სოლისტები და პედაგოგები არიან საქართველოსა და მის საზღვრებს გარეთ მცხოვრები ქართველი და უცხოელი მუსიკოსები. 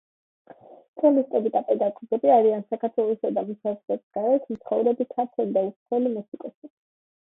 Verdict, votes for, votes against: accepted, 2, 1